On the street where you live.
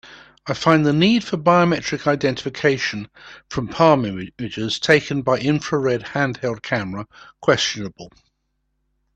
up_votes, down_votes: 0, 2